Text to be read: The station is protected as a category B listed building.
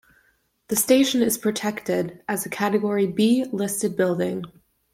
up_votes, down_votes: 2, 0